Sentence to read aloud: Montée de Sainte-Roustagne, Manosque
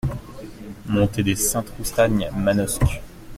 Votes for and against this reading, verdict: 2, 1, accepted